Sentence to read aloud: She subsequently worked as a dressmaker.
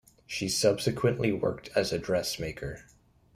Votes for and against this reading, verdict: 2, 0, accepted